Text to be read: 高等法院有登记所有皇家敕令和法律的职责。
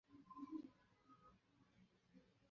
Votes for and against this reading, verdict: 0, 5, rejected